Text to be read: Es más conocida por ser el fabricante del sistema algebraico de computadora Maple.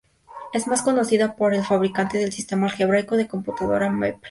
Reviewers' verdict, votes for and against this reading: accepted, 2, 0